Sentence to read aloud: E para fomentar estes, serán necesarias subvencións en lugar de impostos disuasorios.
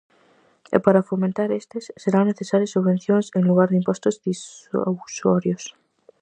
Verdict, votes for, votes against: rejected, 0, 4